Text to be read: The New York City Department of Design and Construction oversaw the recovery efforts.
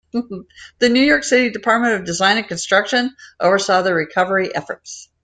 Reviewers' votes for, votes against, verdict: 2, 0, accepted